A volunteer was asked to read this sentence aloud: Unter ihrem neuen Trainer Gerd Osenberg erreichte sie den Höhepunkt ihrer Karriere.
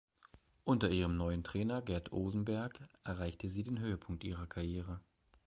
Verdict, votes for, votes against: accepted, 2, 0